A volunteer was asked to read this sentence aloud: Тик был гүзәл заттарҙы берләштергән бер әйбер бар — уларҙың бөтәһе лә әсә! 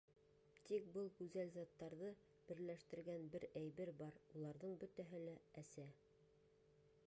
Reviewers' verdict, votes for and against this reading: rejected, 1, 2